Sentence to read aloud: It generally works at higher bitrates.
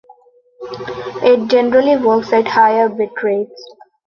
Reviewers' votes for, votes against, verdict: 2, 0, accepted